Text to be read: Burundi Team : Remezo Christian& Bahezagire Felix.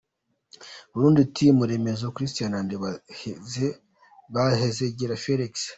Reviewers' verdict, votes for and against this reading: accepted, 2, 0